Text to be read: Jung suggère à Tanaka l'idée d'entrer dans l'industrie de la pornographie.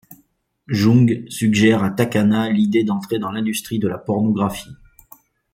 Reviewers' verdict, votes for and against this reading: rejected, 0, 2